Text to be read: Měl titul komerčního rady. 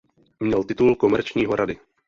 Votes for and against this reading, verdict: 0, 2, rejected